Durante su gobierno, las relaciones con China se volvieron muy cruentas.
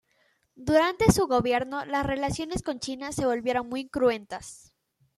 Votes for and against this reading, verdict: 2, 0, accepted